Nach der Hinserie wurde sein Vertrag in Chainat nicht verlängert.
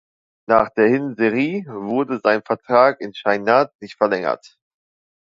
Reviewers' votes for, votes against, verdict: 0, 2, rejected